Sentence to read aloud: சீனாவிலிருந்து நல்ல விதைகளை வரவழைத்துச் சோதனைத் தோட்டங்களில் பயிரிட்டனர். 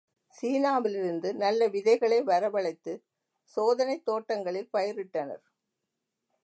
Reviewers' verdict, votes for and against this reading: accepted, 2, 0